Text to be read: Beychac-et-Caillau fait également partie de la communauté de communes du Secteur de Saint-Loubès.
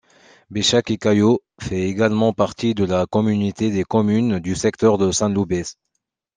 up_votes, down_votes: 1, 2